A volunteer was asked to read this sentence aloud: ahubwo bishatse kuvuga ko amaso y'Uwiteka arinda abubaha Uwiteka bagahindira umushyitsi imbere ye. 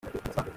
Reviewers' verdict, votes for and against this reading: rejected, 0, 2